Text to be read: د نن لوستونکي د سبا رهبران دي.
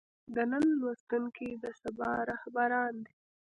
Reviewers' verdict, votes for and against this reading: accepted, 2, 0